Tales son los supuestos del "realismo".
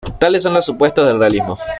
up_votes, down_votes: 2, 1